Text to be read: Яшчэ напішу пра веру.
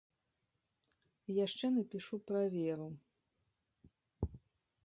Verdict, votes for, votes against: accepted, 2, 0